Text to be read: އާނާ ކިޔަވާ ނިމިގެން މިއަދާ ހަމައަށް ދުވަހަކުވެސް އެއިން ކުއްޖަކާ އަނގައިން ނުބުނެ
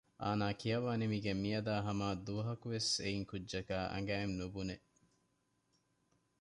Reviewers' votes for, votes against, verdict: 2, 0, accepted